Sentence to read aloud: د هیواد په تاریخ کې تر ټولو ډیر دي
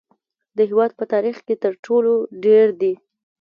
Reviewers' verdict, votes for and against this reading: accepted, 2, 0